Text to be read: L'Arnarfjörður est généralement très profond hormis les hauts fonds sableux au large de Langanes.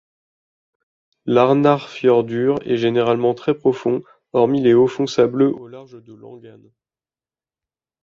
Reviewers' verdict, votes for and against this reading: accepted, 2, 0